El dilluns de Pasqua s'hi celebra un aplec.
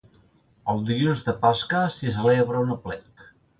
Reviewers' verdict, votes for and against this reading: rejected, 0, 2